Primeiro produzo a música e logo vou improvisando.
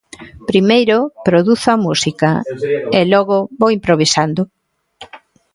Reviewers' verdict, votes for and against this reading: accepted, 2, 1